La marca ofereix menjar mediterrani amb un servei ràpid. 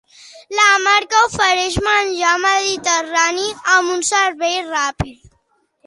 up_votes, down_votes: 3, 0